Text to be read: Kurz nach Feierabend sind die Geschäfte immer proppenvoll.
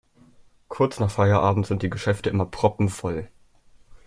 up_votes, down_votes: 3, 0